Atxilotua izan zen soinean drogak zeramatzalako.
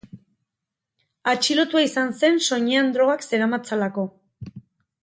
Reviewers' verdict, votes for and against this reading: accepted, 4, 2